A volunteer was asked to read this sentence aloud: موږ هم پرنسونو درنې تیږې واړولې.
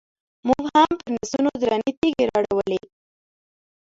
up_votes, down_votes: 0, 2